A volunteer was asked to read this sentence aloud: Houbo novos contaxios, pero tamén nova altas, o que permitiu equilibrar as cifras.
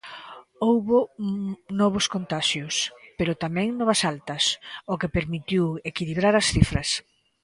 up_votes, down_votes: 2, 0